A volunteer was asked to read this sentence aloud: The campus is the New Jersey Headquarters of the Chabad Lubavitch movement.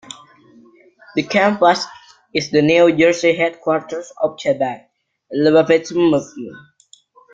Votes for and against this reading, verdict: 1, 2, rejected